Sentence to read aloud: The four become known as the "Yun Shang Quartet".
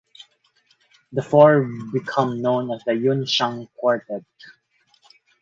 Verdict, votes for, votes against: accepted, 4, 0